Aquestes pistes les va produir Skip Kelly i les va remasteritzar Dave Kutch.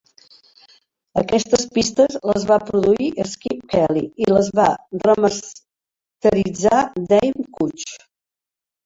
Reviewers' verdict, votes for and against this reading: rejected, 1, 2